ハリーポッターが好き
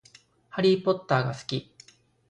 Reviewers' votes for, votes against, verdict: 2, 0, accepted